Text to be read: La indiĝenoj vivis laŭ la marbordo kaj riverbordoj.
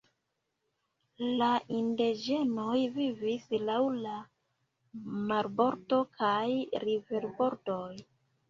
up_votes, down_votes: 1, 2